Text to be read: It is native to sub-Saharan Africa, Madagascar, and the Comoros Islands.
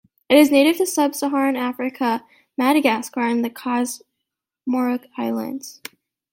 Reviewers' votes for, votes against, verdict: 0, 2, rejected